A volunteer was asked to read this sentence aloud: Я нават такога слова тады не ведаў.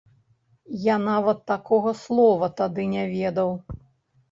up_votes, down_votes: 0, 2